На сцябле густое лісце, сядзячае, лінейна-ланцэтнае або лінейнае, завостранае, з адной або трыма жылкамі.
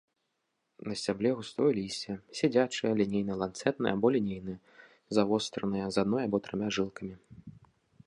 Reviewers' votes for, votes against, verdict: 2, 0, accepted